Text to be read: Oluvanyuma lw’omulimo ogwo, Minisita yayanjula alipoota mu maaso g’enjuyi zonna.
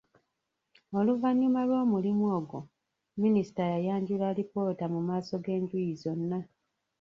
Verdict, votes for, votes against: rejected, 0, 2